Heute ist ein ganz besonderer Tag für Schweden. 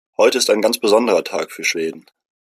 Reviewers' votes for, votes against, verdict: 2, 0, accepted